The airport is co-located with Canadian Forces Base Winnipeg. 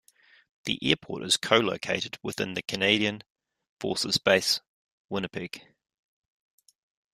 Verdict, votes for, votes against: rejected, 1, 2